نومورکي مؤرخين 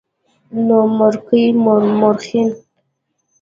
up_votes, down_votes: 2, 0